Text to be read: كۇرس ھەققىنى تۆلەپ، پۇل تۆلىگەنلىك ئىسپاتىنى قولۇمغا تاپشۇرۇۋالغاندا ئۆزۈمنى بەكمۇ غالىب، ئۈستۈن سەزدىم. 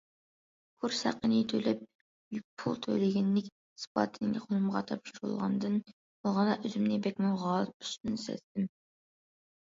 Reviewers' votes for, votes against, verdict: 0, 2, rejected